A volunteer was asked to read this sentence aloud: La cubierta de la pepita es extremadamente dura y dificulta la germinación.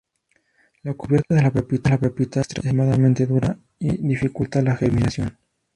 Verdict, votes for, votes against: rejected, 0, 2